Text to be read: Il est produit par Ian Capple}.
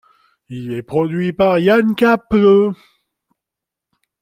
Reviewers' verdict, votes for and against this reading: accepted, 2, 0